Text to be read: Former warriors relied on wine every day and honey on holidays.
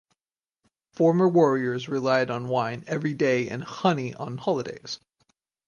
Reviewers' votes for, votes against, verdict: 4, 0, accepted